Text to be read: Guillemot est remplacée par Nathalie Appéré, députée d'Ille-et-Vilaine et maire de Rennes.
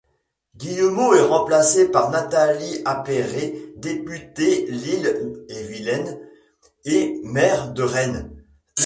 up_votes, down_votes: 0, 2